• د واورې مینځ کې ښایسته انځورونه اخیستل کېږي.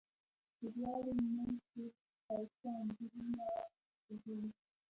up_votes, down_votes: 0, 2